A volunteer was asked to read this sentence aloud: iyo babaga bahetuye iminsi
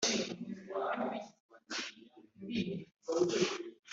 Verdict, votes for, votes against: rejected, 0, 2